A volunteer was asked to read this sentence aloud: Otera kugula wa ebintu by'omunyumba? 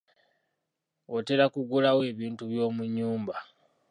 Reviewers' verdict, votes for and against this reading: rejected, 1, 2